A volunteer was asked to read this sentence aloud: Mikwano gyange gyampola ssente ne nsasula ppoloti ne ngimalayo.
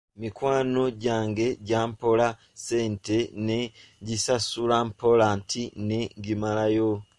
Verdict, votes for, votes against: rejected, 0, 2